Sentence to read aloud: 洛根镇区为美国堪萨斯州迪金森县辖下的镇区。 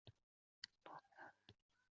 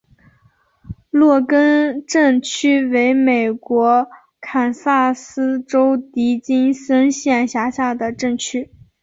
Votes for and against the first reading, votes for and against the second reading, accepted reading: 0, 2, 2, 1, second